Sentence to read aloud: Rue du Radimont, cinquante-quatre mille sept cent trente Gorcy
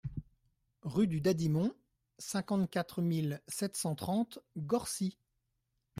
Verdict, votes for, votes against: rejected, 1, 2